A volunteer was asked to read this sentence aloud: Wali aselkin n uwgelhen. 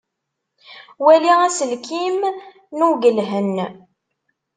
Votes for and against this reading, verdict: 1, 2, rejected